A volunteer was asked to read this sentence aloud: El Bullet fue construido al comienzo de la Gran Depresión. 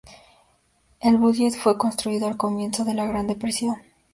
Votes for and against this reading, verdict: 2, 0, accepted